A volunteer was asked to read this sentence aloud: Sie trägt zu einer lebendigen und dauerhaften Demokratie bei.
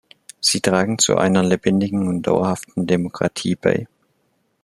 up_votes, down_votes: 0, 2